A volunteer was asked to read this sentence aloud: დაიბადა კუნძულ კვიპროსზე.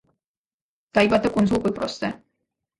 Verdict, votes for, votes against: accepted, 2, 0